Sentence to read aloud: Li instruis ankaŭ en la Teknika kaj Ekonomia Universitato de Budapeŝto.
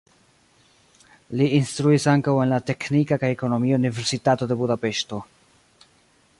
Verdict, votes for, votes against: rejected, 1, 2